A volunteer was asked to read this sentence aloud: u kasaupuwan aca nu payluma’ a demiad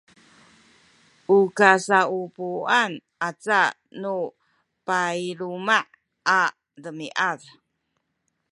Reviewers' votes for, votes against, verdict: 1, 2, rejected